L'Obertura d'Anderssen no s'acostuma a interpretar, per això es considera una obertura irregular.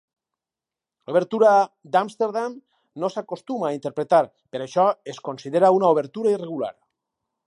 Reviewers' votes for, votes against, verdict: 2, 4, rejected